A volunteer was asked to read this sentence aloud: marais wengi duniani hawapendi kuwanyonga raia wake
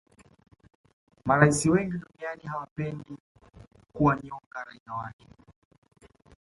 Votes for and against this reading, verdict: 2, 1, accepted